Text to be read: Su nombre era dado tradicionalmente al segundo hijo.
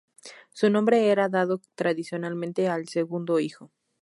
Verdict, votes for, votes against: accepted, 4, 0